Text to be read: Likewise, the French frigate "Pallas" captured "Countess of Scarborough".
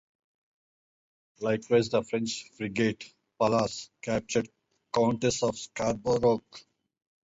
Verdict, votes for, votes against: rejected, 0, 2